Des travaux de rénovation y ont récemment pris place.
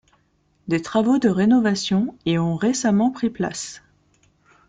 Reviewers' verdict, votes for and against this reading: accepted, 2, 0